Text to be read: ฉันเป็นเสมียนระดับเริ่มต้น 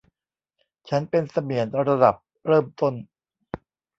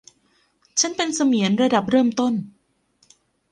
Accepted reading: second